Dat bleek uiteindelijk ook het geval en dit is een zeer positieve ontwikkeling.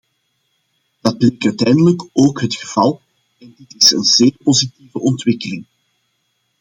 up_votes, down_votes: 0, 2